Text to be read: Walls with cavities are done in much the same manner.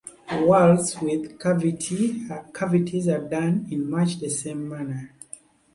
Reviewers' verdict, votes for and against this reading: rejected, 0, 2